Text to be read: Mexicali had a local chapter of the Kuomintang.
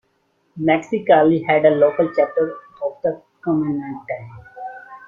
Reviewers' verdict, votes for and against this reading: accepted, 2, 0